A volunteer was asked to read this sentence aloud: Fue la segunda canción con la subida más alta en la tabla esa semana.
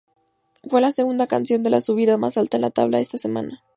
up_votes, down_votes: 0, 2